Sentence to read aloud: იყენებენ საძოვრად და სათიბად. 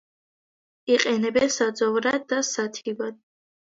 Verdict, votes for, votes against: accepted, 2, 0